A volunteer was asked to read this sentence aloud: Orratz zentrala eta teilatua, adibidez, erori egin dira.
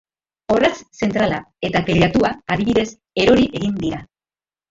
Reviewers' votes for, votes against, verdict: 2, 0, accepted